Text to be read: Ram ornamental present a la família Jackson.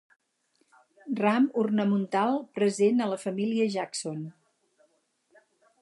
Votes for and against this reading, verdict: 2, 2, rejected